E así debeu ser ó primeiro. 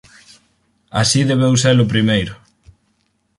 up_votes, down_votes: 4, 2